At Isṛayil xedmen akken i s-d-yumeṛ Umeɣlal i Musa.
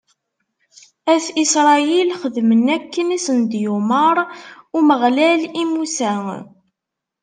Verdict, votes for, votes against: accepted, 2, 0